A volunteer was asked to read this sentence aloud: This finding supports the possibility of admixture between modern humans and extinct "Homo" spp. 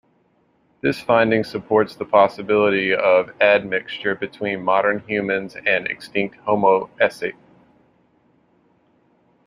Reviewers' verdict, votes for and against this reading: rejected, 0, 2